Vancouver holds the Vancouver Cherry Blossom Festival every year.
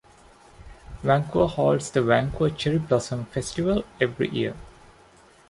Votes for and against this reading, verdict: 0, 2, rejected